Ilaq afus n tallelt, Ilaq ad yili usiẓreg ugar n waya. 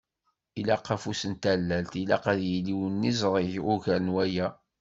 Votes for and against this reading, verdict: 1, 2, rejected